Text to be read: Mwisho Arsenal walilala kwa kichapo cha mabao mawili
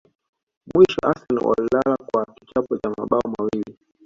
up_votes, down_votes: 2, 0